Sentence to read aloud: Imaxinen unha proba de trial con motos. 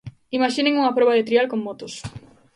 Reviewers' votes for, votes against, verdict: 2, 0, accepted